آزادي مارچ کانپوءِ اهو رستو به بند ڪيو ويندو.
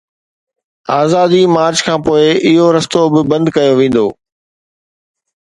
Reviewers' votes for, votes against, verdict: 2, 0, accepted